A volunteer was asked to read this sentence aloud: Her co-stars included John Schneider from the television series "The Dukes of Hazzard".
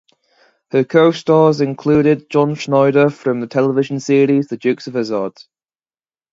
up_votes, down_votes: 0, 2